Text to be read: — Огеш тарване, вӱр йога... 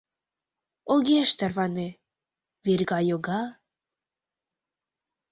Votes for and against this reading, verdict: 0, 2, rejected